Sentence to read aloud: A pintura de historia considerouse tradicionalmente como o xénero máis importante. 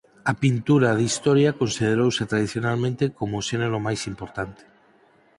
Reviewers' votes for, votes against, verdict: 4, 0, accepted